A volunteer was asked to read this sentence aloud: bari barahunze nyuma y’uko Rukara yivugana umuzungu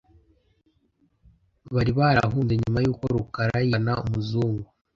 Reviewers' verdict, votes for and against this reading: rejected, 0, 2